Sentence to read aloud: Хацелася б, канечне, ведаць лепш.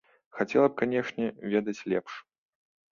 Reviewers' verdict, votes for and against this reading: rejected, 1, 2